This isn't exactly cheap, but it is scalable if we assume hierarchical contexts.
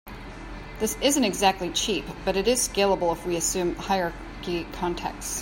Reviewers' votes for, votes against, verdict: 0, 2, rejected